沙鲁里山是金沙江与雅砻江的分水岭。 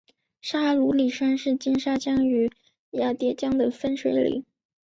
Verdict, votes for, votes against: accepted, 3, 2